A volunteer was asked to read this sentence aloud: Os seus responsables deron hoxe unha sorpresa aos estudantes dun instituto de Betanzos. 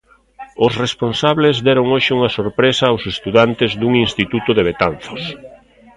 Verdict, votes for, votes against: rejected, 0, 2